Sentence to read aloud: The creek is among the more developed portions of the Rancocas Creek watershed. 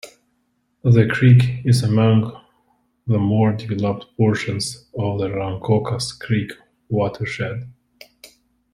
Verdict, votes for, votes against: accepted, 2, 0